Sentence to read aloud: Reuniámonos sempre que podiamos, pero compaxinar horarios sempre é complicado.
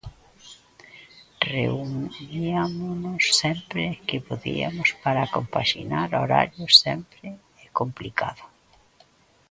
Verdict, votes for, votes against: rejected, 0, 2